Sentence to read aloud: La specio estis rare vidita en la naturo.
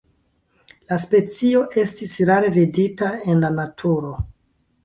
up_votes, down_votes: 2, 1